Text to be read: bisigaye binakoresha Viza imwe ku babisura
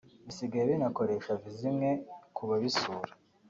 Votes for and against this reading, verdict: 3, 1, accepted